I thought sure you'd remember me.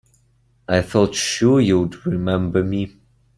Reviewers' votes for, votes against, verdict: 2, 0, accepted